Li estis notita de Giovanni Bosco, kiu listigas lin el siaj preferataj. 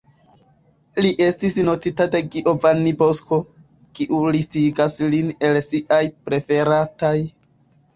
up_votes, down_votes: 1, 2